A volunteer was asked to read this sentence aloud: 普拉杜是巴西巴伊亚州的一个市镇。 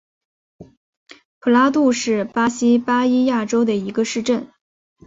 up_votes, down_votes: 2, 1